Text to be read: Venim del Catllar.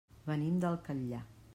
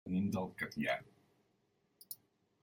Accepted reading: first